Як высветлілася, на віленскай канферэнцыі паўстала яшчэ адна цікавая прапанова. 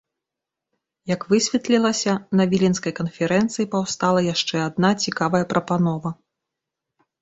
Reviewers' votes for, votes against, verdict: 2, 0, accepted